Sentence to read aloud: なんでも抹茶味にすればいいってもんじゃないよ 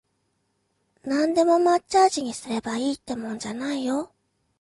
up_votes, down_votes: 2, 0